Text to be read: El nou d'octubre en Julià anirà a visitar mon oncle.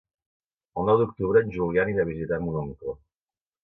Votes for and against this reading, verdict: 2, 0, accepted